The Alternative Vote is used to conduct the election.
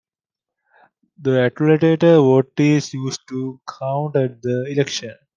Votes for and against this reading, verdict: 0, 2, rejected